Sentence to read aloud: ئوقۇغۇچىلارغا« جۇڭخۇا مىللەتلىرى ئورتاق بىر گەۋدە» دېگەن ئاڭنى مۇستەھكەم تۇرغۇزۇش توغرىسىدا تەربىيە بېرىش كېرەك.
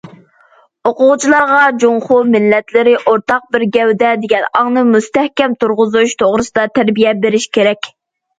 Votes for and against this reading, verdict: 0, 2, rejected